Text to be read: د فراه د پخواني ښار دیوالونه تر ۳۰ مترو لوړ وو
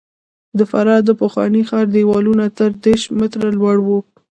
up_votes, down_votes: 0, 2